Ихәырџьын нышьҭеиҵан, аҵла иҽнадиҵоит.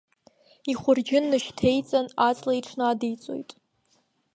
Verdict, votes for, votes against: rejected, 1, 2